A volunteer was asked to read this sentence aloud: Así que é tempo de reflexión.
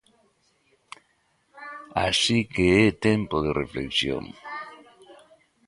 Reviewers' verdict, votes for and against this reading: rejected, 0, 2